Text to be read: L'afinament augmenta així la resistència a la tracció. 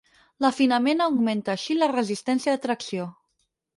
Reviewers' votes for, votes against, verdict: 0, 4, rejected